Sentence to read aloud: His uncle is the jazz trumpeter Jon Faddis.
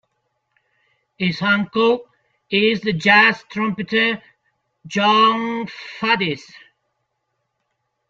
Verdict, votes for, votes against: accepted, 2, 0